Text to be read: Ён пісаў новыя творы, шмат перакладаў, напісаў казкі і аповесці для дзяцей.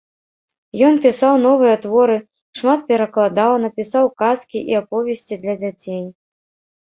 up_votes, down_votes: 1, 2